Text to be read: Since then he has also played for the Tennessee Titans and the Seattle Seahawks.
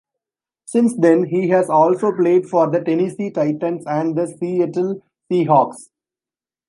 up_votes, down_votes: 1, 2